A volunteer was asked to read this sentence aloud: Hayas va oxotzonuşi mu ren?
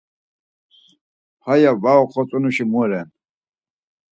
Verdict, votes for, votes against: accepted, 4, 0